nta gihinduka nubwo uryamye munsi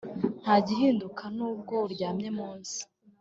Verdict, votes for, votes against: accepted, 2, 0